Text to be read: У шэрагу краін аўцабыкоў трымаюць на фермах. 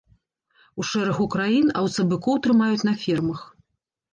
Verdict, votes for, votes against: accepted, 2, 0